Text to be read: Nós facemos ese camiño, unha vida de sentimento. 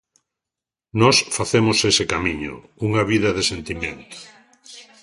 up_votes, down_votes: 1, 2